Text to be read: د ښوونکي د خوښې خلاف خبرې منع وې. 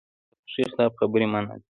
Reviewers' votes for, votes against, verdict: 1, 2, rejected